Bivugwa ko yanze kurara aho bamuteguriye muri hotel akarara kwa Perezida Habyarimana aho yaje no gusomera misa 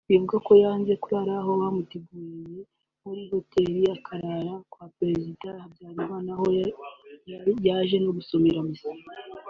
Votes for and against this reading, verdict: 1, 2, rejected